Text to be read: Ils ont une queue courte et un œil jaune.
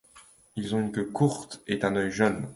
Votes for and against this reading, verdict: 0, 2, rejected